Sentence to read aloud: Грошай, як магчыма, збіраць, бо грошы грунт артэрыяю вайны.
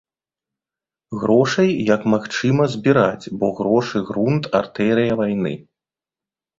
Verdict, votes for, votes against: rejected, 1, 2